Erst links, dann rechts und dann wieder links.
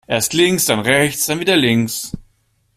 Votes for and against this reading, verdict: 2, 0, accepted